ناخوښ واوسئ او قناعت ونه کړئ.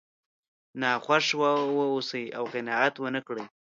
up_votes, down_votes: 2, 1